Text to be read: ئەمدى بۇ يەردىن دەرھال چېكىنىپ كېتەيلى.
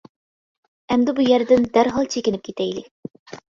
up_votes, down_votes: 2, 0